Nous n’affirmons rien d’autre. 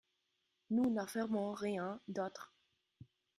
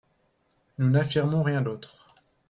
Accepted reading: second